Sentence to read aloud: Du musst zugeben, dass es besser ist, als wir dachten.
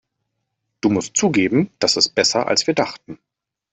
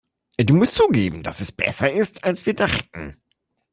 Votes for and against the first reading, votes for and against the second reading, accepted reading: 1, 2, 2, 0, second